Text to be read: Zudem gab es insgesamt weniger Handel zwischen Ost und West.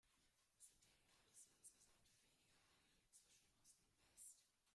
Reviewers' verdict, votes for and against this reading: rejected, 1, 2